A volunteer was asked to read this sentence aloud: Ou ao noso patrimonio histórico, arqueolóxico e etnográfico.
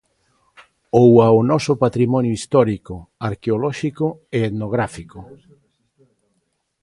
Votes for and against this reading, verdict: 2, 1, accepted